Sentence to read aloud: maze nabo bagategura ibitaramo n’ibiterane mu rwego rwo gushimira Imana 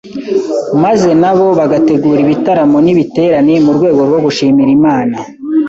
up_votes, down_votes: 2, 0